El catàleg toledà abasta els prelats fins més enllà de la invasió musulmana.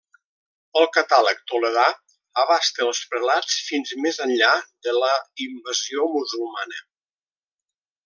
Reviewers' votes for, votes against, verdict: 2, 0, accepted